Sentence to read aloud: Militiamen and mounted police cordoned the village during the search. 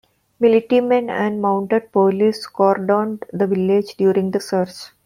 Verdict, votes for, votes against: accepted, 2, 1